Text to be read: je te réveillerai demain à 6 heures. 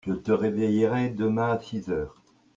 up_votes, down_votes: 0, 2